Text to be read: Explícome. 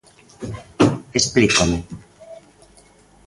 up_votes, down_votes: 2, 0